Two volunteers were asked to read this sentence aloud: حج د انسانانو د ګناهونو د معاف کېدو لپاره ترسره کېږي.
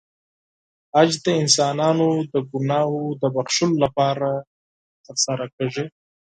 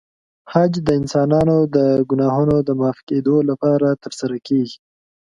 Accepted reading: second